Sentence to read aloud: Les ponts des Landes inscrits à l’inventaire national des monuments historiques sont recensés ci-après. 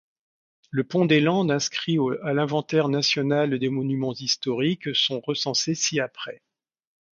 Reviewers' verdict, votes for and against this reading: rejected, 1, 2